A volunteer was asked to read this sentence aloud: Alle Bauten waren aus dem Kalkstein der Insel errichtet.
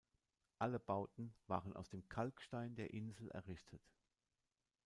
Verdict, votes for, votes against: accepted, 2, 0